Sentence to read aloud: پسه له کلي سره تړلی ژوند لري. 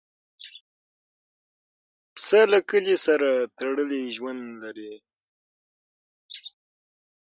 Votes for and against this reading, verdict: 3, 6, rejected